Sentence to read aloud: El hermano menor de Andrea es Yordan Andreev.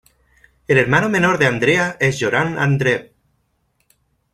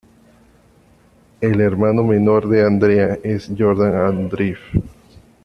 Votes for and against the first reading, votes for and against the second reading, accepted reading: 1, 2, 2, 0, second